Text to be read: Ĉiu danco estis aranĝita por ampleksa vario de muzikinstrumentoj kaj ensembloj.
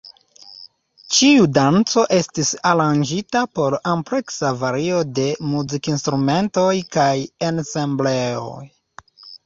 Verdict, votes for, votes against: rejected, 1, 2